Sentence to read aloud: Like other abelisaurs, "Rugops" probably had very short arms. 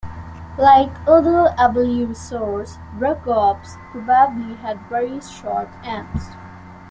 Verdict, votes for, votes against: rejected, 1, 2